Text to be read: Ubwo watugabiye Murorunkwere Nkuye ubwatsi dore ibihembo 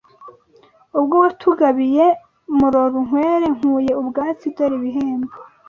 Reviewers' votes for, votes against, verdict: 2, 0, accepted